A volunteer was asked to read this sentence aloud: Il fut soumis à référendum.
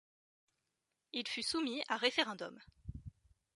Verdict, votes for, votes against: accepted, 2, 0